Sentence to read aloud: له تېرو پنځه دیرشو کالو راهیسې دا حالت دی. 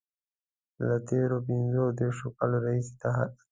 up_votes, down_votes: 1, 2